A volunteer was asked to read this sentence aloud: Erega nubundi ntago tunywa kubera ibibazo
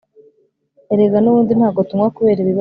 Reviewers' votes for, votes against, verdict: 0, 2, rejected